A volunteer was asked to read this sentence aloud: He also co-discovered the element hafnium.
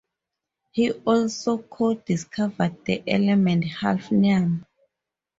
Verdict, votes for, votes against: rejected, 0, 2